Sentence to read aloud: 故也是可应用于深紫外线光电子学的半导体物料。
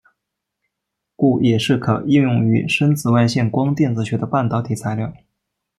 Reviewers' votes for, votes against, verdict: 1, 2, rejected